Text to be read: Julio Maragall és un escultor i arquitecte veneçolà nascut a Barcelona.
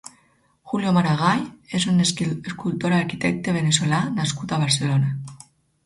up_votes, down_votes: 2, 4